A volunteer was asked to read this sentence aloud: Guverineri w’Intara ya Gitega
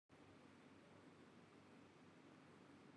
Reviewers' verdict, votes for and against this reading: rejected, 0, 3